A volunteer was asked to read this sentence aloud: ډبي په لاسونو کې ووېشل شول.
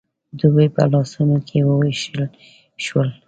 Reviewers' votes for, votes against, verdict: 1, 2, rejected